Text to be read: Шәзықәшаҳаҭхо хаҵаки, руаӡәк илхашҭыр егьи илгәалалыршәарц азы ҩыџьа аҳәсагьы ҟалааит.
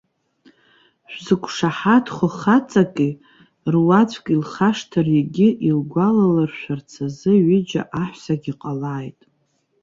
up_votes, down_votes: 2, 0